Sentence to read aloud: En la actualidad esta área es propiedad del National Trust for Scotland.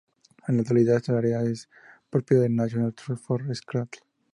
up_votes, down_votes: 2, 2